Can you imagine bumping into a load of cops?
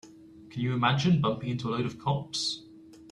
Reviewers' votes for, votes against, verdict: 2, 0, accepted